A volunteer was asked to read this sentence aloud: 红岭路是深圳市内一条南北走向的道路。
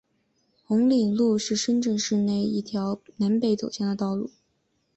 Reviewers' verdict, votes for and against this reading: accepted, 2, 0